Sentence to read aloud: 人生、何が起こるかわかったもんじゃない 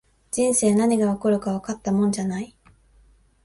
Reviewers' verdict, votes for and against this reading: accepted, 4, 0